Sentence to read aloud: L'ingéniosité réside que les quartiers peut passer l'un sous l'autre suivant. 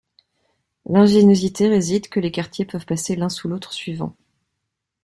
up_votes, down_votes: 2, 0